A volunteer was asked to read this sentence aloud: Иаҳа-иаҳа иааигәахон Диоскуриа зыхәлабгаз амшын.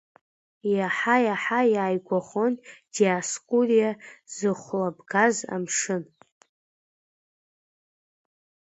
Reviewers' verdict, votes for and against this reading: accepted, 2, 0